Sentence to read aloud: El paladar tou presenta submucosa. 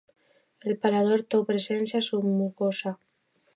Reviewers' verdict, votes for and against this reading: rejected, 0, 2